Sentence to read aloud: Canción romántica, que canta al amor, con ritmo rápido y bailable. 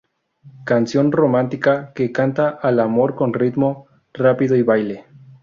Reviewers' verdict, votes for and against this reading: rejected, 0, 2